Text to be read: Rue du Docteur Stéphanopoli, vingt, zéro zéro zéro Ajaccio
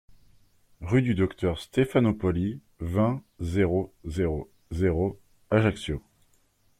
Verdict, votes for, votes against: accepted, 2, 0